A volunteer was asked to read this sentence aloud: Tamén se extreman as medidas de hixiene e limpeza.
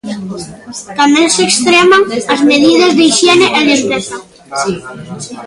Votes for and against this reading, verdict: 1, 2, rejected